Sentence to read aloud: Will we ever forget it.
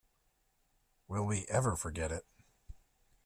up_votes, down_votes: 2, 0